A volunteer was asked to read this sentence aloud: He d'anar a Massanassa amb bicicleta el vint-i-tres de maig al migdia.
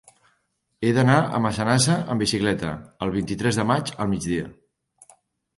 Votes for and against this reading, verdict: 3, 0, accepted